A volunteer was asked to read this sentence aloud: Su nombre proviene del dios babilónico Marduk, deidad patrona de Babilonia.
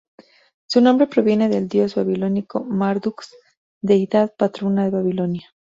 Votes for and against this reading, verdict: 2, 0, accepted